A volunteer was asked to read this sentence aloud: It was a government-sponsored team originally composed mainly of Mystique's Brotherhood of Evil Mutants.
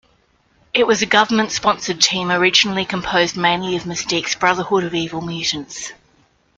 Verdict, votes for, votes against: accepted, 2, 0